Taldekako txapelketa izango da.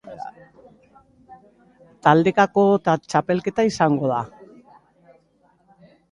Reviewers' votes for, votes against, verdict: 1, 2, rejected